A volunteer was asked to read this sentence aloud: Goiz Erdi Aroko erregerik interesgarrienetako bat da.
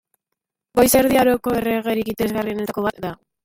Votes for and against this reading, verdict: 2, 1, accepted